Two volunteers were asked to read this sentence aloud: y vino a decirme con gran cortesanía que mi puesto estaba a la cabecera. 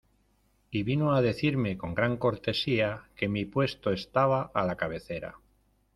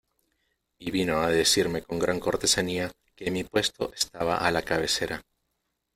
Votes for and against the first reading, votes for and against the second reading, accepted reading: 1, 2, 2, 0, second